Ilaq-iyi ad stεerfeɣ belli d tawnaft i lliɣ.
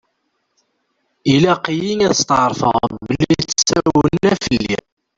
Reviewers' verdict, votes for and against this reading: rejected, 0, 2